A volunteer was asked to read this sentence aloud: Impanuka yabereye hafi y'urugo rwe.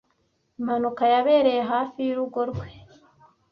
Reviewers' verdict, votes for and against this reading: accepted, 2, 0